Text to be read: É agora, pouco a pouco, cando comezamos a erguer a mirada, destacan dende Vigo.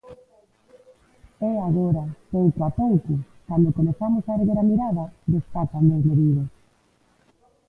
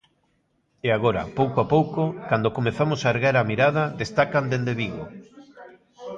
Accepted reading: second